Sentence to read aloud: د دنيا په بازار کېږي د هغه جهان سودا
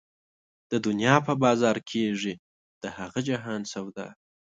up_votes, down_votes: 2, 0